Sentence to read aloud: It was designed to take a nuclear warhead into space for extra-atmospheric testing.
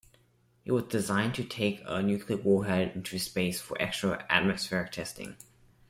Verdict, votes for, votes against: accepted, 3, 0